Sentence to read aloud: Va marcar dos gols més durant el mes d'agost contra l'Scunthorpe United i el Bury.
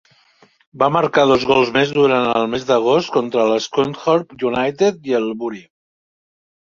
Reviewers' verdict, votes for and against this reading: accepted, 2, 0